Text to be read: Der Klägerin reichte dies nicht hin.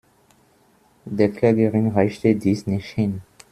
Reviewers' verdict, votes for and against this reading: accepted, 2, 0